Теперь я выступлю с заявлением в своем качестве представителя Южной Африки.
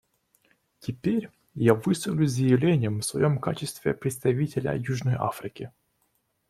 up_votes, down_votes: 2, 0